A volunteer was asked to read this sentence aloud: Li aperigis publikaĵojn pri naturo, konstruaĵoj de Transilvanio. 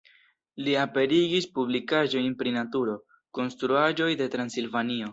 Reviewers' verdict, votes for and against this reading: accepted, 2, 0